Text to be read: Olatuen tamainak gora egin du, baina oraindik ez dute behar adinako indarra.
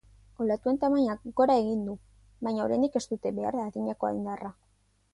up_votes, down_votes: 5, 0